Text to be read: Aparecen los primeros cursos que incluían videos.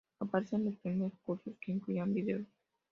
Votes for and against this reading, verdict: 0, 2, rejected